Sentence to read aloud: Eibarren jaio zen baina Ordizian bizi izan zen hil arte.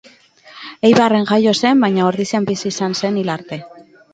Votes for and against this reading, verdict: 4, 0, accepted